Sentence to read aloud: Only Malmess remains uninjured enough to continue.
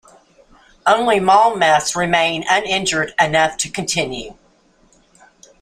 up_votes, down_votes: 1, 2